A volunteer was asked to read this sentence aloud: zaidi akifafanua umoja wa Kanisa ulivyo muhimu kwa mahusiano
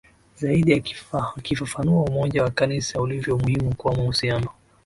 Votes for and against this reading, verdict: 3, 1, accepted